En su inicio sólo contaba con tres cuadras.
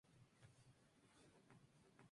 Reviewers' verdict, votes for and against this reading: rejected, 0, 2